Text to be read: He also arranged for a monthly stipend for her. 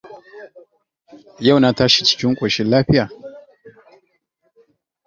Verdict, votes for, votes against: rejected, 1, 2